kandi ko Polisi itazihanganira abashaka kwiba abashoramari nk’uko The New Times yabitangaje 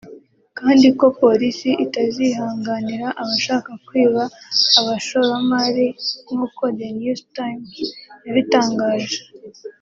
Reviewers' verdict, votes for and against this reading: accepted, 2, 0